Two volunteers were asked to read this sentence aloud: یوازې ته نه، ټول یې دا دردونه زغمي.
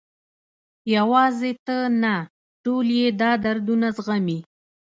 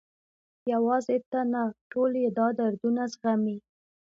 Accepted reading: second